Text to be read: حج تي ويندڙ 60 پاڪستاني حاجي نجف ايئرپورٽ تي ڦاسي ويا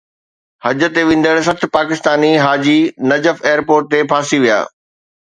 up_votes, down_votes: 0, 2